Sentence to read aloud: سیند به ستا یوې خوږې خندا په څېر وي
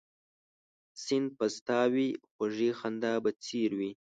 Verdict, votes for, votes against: accepted, 3, 1